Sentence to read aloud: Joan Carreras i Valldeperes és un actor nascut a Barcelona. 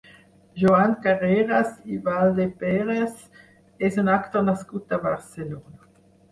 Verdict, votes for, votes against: rejected, 0, 4